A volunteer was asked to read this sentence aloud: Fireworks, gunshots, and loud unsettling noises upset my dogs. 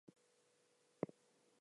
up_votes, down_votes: 0, 6